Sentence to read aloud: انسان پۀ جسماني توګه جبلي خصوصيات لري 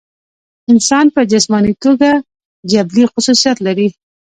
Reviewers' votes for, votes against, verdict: 1, 2, rejected